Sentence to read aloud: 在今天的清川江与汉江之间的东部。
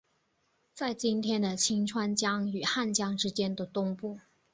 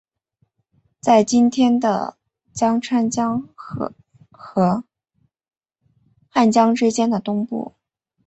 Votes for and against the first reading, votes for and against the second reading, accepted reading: 6, 0, 2, 4, first